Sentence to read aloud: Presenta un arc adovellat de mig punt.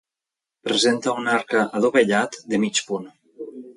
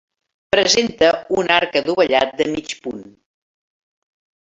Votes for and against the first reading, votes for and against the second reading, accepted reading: 1, 2, 3, 0, second